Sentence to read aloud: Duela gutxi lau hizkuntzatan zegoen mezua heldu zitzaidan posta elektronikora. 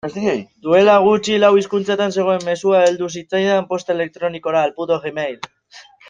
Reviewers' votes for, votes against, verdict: 0, 2, rejected